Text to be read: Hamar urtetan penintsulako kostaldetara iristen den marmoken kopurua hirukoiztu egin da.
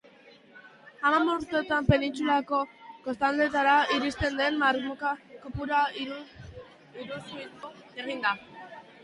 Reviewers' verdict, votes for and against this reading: rejected, 0, 2